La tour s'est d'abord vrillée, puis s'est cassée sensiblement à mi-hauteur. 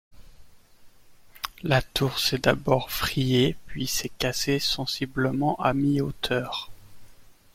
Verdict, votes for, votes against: accepted, 2, 0